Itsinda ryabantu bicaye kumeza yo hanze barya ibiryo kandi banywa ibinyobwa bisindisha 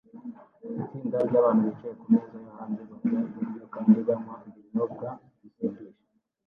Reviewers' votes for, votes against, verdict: 1, 2, rejected